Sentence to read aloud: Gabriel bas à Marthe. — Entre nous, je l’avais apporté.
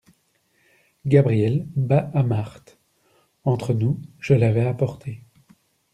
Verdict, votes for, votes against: accepted, 2, 0